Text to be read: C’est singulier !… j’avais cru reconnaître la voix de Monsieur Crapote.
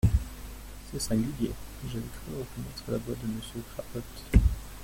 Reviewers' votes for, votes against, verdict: 0, 2, rejected